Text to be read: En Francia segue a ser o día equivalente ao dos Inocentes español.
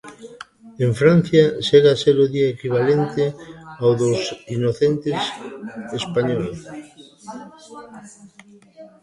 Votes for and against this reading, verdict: 1, 2, rejected